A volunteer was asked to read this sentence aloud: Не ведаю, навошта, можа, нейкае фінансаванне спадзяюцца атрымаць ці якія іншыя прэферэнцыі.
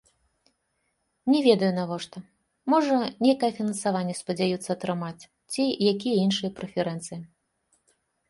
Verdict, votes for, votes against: accepted, 2, 1